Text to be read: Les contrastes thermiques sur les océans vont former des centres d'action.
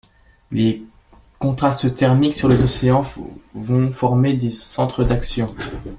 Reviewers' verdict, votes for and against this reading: rejected, 1, 2